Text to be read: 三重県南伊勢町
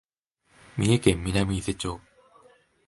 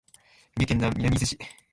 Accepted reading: first